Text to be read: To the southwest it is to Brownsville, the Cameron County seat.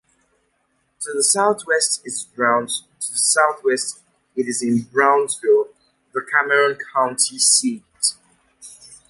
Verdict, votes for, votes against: rejected, 0, 2